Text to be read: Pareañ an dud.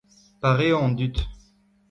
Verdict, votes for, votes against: accepted, 2, 0